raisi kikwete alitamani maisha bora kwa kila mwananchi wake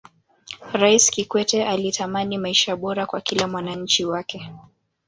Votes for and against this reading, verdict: 1, 2, rejected